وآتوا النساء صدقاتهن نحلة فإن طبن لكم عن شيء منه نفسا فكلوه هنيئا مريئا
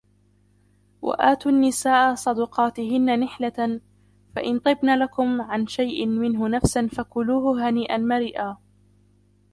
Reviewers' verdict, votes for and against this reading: rejected, 0, 2